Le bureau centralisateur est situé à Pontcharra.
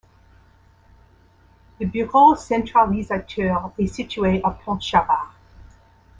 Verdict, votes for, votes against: rejected, 1, 2